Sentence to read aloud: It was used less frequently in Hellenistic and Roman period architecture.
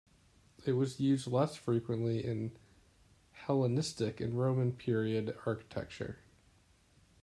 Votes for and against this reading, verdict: 2, 0, accepted